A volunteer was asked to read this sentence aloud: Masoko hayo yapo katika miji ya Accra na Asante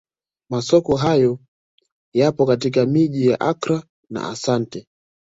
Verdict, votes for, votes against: accepted, 2, 0